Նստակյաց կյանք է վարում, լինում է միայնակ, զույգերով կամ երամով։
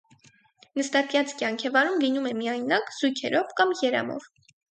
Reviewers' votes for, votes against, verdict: 4, 0, accepted